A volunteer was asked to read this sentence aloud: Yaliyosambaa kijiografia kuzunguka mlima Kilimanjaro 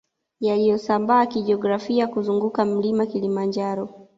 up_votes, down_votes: 2, 0